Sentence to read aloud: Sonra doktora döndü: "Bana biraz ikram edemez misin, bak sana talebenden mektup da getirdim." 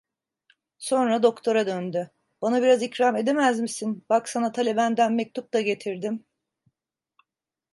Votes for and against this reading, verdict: 2, 0, accepted